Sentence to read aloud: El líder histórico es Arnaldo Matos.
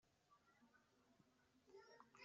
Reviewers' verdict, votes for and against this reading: rejected, 0, 2